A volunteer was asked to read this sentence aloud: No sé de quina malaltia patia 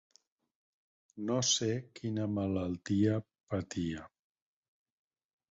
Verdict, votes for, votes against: rejected, 2, 6